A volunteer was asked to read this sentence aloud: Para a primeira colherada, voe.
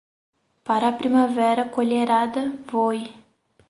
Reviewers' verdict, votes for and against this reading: rejected, 2, 4